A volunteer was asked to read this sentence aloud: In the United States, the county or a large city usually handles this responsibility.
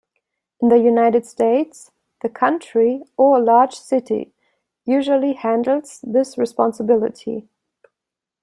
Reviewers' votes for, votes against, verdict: 0, 2, rejected